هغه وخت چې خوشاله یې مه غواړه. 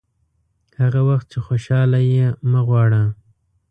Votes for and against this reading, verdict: 0, 2, rejected